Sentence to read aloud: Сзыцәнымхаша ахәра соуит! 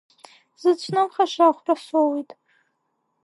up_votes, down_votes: 2, 0